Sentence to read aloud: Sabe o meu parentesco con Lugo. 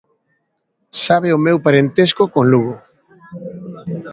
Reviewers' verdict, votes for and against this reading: accepted, 2, 0